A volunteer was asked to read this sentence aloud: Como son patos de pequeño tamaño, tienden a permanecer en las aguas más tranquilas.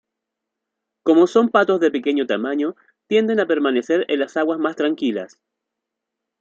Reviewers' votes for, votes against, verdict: 2, 0, accepted